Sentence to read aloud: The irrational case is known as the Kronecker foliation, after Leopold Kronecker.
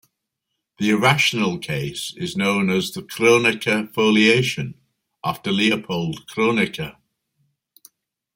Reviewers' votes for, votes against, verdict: 2, 0, accepted